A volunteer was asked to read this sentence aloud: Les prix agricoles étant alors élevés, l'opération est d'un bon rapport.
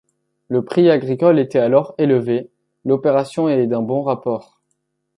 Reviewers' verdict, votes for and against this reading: rejected, 0, 2